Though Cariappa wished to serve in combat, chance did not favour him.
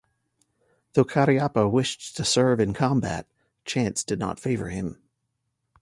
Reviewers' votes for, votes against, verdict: 2, 0, accepted